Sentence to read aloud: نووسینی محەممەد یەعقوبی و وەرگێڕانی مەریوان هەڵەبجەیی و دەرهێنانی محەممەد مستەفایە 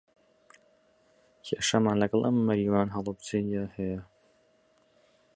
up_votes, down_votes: 0, 2